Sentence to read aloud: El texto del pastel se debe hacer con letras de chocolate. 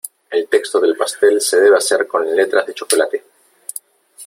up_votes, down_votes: 3, 0